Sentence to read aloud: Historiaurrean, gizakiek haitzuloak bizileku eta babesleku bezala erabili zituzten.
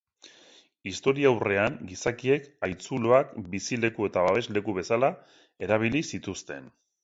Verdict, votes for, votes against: accepted, 2, 0